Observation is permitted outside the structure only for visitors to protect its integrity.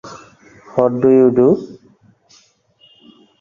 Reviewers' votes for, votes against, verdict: 0, 2, rejected